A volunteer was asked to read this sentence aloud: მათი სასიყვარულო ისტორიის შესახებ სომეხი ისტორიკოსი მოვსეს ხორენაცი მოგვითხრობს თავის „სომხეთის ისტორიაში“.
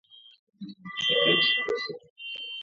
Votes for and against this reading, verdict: 0, 2, rejected